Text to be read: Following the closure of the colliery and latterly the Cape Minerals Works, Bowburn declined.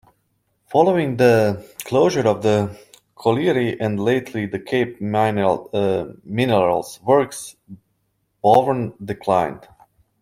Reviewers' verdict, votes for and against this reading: rejected, 1, 2